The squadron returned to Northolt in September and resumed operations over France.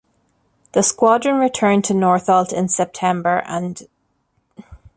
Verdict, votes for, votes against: rejected, 0, 2